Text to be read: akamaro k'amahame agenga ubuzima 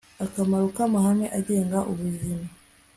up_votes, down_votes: 2, 0